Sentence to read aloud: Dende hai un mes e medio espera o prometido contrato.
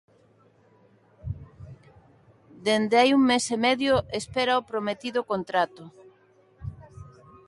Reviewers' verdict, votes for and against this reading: accepted, 2, 0